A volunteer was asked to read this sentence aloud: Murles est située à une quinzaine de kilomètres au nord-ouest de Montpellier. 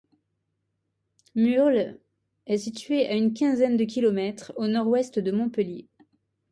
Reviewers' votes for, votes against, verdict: 2, 0, accepted